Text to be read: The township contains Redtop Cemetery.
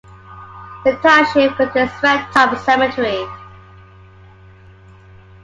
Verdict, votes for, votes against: accepted, 2, 0